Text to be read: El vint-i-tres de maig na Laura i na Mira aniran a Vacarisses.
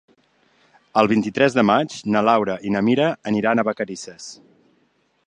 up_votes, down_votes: 3, 0